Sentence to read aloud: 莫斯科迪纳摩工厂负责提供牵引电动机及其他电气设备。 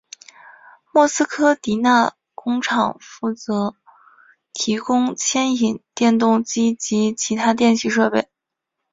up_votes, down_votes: 4, 1